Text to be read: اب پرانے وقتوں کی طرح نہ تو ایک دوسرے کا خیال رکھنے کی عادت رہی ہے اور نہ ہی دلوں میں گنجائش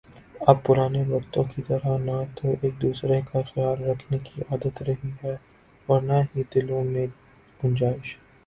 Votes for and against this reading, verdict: 3, 0, accepted